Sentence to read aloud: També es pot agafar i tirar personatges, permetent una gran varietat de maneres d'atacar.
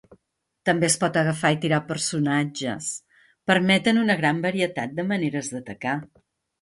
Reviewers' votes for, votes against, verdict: 0, 2, rejected